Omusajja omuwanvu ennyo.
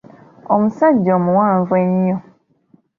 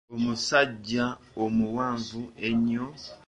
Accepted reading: first